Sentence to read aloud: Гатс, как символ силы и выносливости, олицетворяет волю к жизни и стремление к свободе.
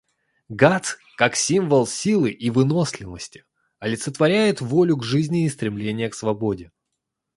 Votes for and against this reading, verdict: 2, 0, accepted